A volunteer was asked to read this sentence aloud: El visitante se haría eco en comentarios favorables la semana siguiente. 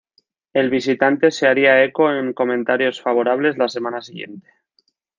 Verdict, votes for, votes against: rejected, 0, 2